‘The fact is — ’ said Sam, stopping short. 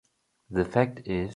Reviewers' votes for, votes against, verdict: 0, 2, rejected